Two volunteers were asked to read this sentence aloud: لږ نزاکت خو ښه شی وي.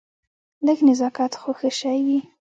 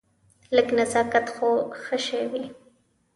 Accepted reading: second